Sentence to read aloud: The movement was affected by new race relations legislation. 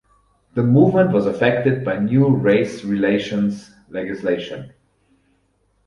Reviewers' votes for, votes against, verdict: 4, 0, accepted